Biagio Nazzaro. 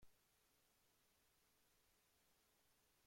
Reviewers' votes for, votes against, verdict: 0, 2, rejected